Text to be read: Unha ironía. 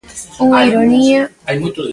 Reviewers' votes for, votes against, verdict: 0, 2, rejected